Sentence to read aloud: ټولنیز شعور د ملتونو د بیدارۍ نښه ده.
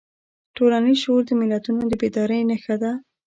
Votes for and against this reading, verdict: 2, 0, accepted